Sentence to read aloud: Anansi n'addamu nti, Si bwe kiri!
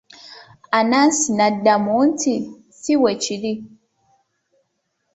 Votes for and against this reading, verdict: 2, 0, accepted